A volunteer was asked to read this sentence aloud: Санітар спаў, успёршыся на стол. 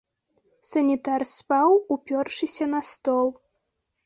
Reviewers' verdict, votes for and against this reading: rejected, 1, 2